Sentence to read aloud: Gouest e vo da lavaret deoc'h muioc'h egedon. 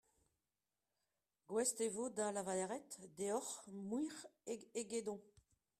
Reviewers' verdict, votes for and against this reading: accepted, 2, 1